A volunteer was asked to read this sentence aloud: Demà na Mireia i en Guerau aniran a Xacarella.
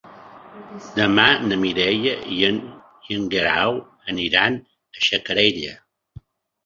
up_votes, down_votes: 0, 2